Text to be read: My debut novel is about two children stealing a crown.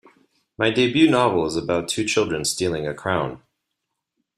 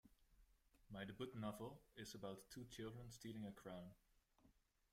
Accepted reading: first